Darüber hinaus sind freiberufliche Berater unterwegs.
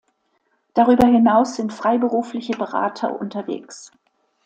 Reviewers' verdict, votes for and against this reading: accepted, 2, 0